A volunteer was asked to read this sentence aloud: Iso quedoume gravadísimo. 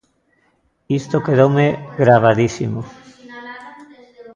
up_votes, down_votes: 1, 2